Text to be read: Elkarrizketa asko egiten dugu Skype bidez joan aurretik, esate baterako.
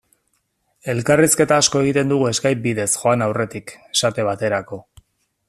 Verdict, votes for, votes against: accepted, 2, 0